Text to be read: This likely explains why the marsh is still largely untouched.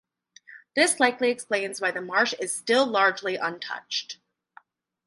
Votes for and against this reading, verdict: 2, 0, accepted